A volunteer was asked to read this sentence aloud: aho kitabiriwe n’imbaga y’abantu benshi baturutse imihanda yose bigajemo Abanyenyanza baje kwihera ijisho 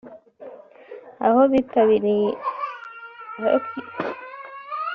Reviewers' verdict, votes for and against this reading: rejected, 0, 2